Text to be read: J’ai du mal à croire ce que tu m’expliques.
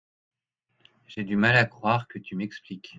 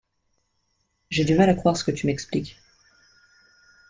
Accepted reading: second